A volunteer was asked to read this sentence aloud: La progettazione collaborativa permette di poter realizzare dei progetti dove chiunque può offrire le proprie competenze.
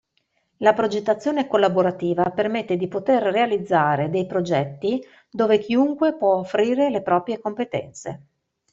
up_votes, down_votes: 2, 0